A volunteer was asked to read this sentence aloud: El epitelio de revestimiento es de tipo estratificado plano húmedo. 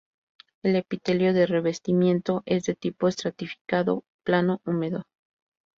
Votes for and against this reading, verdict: 2, 0, accepted